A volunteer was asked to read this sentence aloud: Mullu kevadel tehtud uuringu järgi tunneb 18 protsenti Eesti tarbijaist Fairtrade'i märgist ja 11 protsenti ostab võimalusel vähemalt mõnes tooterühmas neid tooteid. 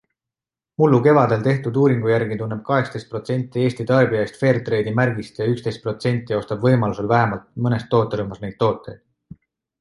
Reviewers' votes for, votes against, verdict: 0, 2, rejected